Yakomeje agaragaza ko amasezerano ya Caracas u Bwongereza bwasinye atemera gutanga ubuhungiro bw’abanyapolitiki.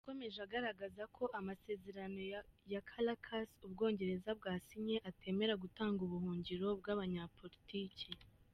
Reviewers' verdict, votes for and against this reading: rejected, 1, 2